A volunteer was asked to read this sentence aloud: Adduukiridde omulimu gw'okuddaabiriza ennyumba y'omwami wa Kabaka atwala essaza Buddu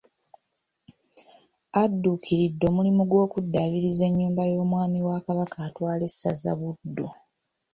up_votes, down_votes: 2, 0